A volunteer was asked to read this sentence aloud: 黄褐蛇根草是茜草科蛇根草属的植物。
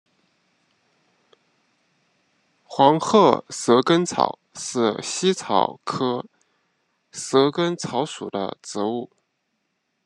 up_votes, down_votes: 2, 1